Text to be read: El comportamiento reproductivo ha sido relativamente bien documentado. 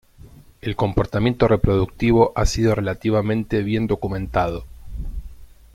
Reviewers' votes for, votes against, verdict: 2, 0, accepted